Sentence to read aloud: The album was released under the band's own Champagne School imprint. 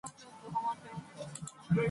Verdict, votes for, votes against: rejected, 0, 2